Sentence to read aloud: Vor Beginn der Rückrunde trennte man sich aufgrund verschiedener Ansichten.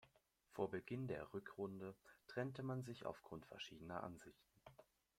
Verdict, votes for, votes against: accepted, 2, 1